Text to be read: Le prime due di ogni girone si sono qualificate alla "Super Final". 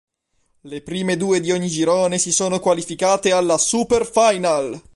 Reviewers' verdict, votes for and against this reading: accepted, 2, 0